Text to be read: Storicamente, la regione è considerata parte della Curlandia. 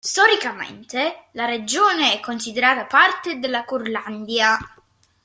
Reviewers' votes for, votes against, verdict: 1, 2, rejected